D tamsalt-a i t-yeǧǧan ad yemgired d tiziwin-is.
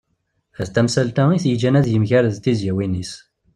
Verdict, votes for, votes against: accepted, 2, 0